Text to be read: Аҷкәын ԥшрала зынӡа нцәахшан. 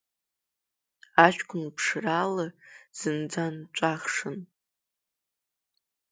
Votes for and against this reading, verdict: 0, 2, rejected